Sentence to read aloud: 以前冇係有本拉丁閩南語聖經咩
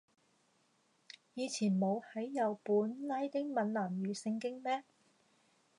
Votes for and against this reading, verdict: 0, 2, rejected